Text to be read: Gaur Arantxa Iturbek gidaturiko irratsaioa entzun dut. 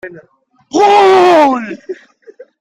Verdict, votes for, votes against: rejected, 0, 2